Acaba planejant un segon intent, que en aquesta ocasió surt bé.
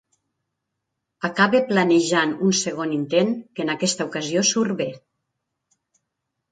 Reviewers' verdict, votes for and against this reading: accepted, 2, 0